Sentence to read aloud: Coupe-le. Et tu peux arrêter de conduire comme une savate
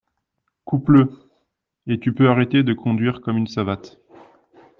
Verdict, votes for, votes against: accepted, 2, 0